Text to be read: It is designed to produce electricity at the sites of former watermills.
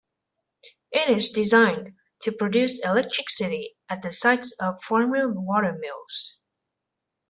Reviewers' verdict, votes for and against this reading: rejected, 1, 2